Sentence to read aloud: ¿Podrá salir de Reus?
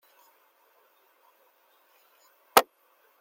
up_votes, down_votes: 0, 2